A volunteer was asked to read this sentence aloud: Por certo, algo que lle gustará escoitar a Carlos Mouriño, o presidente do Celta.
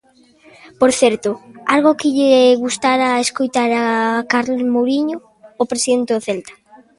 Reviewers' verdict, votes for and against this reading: rejected, 0, 2